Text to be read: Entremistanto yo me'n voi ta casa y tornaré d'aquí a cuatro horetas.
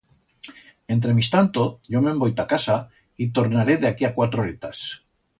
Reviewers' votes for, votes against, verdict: 2, 0, accepted